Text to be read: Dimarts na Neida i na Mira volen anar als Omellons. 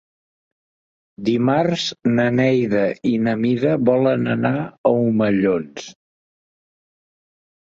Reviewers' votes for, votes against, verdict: 1, 3, rejected